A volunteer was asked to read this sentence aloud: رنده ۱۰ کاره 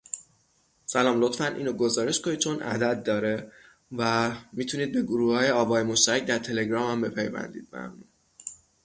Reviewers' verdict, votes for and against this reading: rejected, 0, 2